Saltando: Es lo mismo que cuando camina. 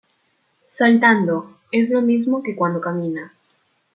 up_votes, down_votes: 2, 0